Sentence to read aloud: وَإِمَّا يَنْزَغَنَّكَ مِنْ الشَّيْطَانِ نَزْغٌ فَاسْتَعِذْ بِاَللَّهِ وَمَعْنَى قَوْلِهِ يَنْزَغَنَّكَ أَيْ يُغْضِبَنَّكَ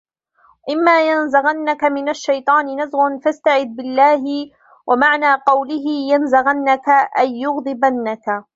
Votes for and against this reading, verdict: 0, 2, rejected